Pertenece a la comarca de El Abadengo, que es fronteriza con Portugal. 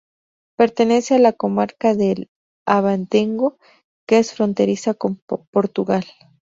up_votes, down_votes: 0, 2